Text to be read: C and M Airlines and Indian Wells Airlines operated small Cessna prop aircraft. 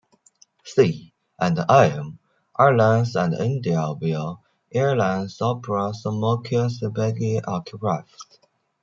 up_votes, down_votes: 0, 2